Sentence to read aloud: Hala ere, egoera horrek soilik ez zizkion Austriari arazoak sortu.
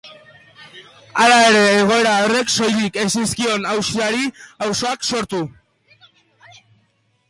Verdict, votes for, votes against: rejected, 0, 2